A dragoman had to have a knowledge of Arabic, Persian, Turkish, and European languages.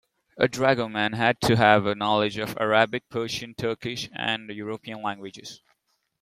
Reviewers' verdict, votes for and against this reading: accepted, 2, 0